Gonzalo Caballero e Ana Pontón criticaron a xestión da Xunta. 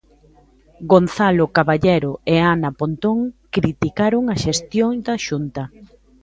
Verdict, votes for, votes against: accepted, 2, 0